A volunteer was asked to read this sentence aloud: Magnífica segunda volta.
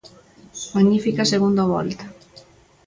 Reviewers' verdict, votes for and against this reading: rejected, 1, 2